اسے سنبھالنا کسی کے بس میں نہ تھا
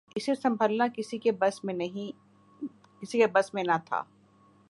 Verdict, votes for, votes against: rejected, 0, 4